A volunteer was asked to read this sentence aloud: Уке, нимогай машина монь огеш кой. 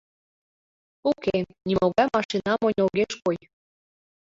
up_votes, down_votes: 2, 1